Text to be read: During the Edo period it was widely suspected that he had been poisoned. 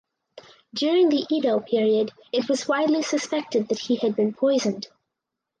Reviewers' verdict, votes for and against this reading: accepted, 4, 0